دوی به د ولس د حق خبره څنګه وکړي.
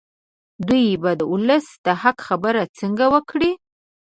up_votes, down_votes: 2, 0